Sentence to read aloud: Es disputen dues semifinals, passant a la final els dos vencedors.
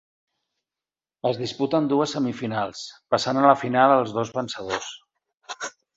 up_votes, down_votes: 4, 0